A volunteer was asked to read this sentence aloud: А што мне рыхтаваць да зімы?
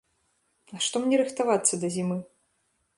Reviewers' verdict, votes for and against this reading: rejected, 0, 2